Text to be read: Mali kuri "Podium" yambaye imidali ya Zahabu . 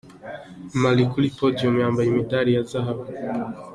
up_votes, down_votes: 2, 0